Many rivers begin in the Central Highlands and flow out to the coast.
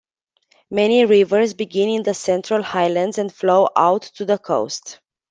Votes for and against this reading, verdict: 2, 0, accepted